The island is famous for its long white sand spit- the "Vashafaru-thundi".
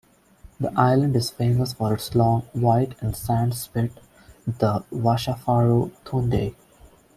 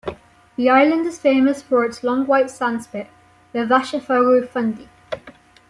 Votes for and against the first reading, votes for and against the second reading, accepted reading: 0, 2, 2, 0, second